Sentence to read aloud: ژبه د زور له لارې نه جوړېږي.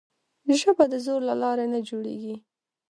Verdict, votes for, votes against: accepted, 2, 0